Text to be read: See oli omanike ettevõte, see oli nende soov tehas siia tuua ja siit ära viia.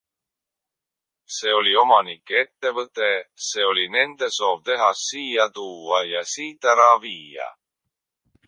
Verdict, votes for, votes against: rejected, 1, 2